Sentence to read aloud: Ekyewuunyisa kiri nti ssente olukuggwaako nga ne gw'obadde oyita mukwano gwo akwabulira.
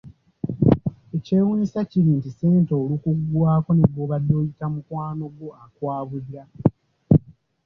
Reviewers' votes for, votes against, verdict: 1, 2, rejected